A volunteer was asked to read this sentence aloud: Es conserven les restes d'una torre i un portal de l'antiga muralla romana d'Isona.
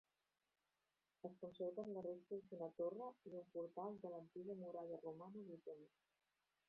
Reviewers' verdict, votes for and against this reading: rejected, 1, 2